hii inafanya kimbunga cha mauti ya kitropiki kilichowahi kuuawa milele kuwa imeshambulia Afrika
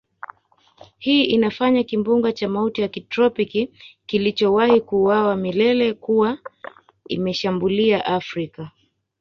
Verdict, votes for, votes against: accepted, 2, 0